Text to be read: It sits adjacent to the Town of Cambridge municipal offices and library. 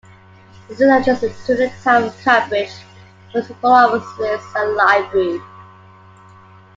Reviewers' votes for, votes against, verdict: 0, 2, rejected